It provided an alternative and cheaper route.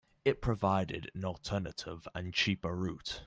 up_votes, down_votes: 2, 0